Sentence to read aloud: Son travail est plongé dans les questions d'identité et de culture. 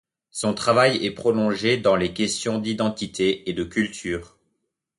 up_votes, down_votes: 1, 2